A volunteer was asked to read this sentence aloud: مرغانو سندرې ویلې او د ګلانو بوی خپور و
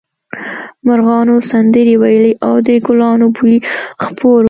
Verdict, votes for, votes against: rejected, 1, 2